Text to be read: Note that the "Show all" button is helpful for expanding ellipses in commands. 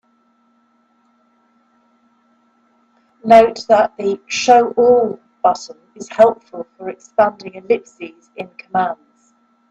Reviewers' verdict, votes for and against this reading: accepted, 2, 0